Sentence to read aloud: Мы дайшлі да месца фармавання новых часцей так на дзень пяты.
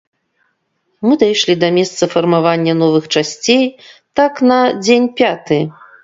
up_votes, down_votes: 2, 0